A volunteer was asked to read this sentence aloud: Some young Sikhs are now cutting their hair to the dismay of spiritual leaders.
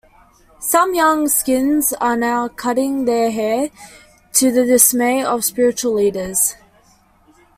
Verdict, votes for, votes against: rejected, 0, 2